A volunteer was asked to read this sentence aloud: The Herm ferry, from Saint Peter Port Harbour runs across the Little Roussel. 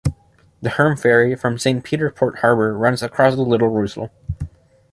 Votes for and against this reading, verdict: 2, 0, accepted